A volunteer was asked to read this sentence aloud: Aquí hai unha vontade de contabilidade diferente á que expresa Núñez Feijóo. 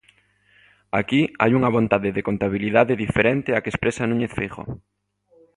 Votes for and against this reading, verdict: 2, 0, accepted